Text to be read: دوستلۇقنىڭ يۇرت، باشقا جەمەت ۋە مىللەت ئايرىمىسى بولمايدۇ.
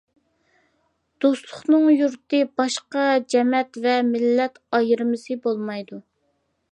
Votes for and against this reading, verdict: 2, 0, accepted